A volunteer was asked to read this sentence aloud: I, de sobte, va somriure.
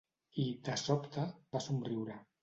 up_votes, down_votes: 2, 0